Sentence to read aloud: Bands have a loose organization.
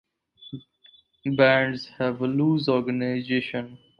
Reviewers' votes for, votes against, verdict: 4, 0, accepted